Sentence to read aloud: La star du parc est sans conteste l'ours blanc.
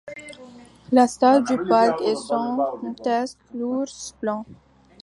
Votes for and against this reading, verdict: 0, 2, rejected